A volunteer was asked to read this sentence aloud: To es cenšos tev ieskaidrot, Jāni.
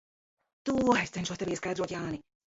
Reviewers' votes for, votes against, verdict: 0, 2, rejected